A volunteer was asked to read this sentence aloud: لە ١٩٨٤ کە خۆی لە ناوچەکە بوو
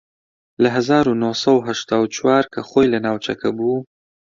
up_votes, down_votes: 0, 2